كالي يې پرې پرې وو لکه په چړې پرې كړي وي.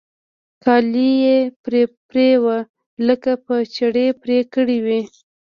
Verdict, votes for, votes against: accepted, 2, 0